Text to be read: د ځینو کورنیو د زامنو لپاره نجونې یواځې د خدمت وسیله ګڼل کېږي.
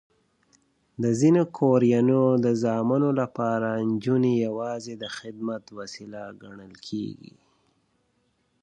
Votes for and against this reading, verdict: 2, 1, accepted